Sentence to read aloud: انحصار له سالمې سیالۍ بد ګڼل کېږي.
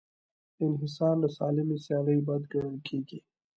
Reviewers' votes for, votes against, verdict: 2, 0, accepted